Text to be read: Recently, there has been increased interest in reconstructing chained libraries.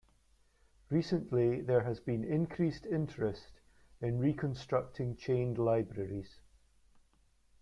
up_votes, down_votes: 2, 0